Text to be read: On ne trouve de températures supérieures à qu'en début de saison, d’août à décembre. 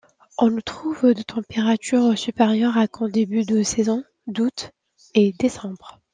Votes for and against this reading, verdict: 0, 2, rejected